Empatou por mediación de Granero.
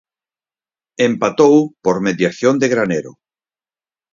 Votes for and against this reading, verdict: 4, 0, accepted